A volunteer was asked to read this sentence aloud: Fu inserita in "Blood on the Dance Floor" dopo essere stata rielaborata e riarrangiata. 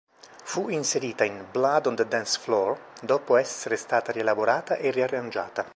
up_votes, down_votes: 3, 0